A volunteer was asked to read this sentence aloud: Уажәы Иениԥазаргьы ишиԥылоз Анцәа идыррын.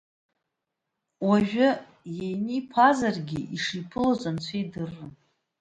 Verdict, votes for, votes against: accepted, 2, 0